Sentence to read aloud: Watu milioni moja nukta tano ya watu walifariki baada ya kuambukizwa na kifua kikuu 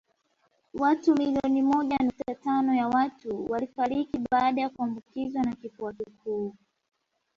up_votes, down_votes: 1, 2